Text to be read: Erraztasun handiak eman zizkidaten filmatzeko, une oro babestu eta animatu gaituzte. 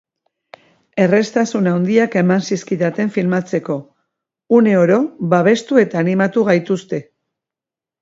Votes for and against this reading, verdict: 2, 0, accepted